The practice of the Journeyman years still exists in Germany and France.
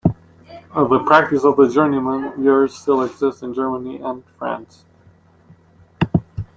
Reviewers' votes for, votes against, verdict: 0, 2, rejected